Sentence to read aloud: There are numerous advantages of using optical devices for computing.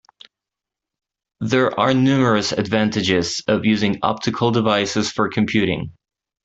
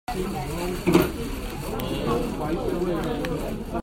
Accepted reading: first